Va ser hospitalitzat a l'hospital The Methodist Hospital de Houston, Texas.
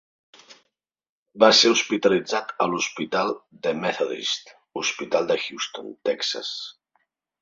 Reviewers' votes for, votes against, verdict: 2, 0, accepted